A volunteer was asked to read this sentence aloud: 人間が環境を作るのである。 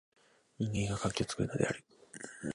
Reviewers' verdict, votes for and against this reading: rejected, 0, 3